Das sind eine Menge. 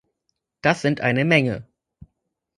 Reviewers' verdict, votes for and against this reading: accepted, 4, 0